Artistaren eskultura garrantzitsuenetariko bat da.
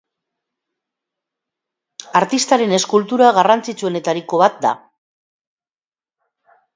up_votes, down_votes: 2, 0